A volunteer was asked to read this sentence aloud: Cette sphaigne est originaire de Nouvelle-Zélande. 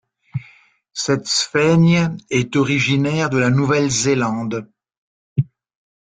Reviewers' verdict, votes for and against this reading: rejected, 0, 3